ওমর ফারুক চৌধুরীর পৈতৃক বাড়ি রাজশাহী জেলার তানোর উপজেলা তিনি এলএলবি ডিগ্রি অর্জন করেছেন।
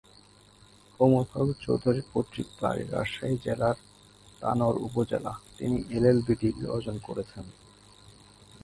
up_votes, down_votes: 0, 3